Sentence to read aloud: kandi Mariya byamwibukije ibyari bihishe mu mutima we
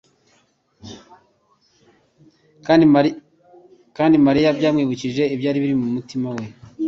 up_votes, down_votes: 0, 3